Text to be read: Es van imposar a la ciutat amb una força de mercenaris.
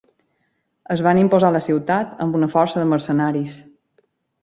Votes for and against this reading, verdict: 2, 0, accepted